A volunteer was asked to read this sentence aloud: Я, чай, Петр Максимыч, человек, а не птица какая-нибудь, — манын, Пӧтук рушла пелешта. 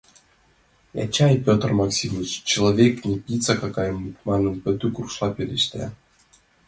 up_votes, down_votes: 2, 0